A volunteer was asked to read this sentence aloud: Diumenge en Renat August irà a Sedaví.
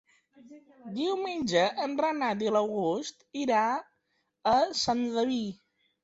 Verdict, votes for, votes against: rejected, 1, 5